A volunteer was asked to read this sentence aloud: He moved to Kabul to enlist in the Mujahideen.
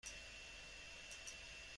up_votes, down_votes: 0, 2